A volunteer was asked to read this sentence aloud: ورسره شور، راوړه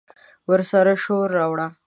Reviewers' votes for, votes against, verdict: 2, 0, accepted